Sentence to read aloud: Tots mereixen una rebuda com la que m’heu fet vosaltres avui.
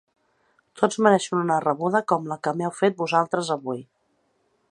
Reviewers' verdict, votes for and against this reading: accepted, 2, 0